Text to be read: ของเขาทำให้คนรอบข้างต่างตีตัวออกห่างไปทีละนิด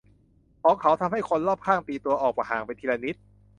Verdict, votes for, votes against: rejected, 0, 2